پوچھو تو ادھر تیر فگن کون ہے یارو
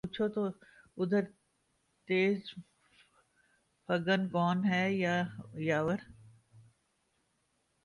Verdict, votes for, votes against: rejected, 0, 2